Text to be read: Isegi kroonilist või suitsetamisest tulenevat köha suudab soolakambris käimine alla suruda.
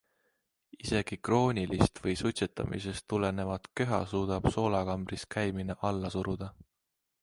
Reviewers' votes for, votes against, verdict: 2, 0, accepted